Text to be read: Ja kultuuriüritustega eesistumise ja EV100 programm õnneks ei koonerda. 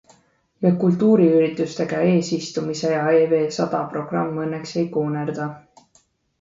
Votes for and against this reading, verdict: 0, 2, rejected